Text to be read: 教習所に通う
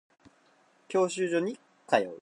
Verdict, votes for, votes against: accepted, 4, 0